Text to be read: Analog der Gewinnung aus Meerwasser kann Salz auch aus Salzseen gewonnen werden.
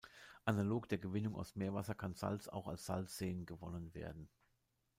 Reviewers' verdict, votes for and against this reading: accepted, 3, 0